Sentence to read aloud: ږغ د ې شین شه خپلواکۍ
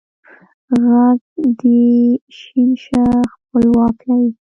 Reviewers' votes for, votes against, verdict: 1, 2, rejected